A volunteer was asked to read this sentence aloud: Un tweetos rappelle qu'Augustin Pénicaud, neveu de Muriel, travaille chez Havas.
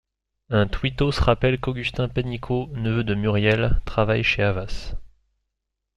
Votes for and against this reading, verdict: 2, 0, accepted